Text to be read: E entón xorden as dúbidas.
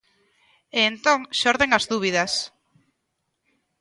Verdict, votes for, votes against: accepted, 2, 0